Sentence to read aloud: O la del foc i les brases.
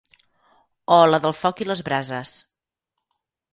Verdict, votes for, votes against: accepted, 4, 2